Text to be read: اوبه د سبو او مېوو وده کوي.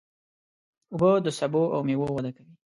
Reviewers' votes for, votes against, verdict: 1, 2, rejected